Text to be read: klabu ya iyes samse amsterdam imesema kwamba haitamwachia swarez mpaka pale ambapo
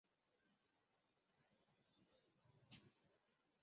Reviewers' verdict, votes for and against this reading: rejected, 0, 2